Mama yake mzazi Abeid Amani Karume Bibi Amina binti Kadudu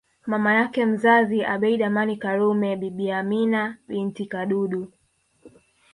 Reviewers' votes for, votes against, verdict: 1, 2, rejected